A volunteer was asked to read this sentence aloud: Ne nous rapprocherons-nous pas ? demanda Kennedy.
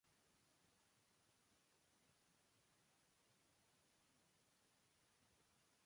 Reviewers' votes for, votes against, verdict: 0, 2, rejected